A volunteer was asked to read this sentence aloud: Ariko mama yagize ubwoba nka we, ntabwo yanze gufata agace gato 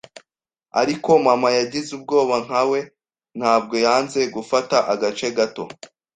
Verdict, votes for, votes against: accepted, 2, 0